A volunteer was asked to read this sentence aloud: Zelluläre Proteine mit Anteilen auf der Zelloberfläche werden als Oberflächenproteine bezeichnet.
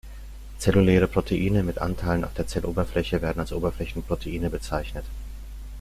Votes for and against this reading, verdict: 0, 2, rejected